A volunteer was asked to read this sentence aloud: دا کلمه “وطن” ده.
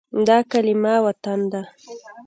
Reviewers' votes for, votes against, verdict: 2, 0, accepted